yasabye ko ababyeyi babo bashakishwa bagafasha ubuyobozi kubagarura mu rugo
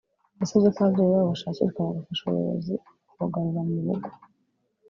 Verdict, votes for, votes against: rejected, 1, 2